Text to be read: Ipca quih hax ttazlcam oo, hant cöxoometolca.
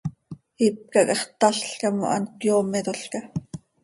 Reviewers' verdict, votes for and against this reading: rejected, 1, 2